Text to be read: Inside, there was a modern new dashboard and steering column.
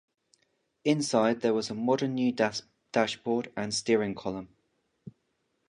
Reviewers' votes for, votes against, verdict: 0, 2, rejected